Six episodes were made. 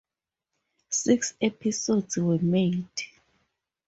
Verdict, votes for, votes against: rejected, 0, 2